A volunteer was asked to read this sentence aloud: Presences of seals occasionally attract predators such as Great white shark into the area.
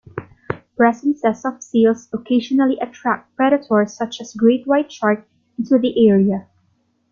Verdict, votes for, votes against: rejected, 0, 2